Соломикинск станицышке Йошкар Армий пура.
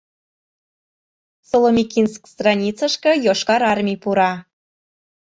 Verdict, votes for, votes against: rejected, 1, 2